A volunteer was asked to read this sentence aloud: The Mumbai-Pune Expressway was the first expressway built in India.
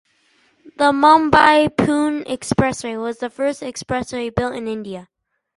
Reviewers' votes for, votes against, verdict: 6, 2, accepted